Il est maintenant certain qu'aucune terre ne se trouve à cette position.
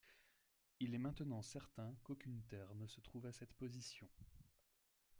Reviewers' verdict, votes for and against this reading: rejected, 1, 2